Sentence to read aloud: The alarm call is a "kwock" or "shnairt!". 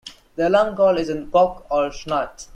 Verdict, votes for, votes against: rejected, 0, 2